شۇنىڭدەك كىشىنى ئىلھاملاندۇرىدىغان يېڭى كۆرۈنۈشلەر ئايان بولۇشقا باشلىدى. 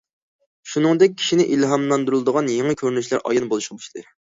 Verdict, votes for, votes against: rejected, 0, 2